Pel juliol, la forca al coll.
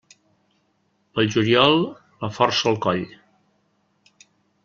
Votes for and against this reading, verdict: 0, 2, rejected